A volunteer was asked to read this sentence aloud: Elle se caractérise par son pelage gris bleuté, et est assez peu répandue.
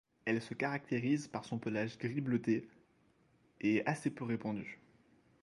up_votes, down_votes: 1, 2